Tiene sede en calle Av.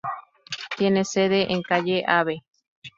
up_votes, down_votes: 0, 2